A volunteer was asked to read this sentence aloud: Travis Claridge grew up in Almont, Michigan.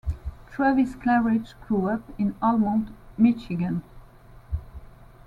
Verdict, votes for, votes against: accepted, 2, 0